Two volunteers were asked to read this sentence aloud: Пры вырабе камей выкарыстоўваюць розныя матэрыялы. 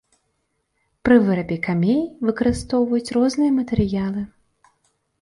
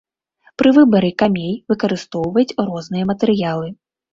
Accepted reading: first